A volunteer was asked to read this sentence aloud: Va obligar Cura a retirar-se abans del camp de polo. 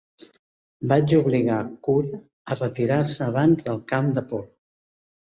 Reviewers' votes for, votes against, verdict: 0, 3, rejected